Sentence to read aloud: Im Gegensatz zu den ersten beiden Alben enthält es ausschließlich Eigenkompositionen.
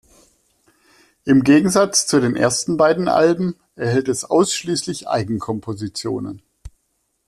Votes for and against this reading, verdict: 1, 2, rejected